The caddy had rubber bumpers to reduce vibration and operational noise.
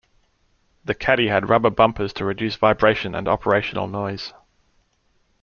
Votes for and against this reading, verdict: 2, 0, accepted